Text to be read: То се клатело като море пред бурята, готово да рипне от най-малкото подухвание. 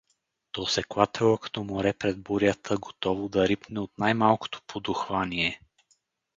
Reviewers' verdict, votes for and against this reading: rejected, 2, 2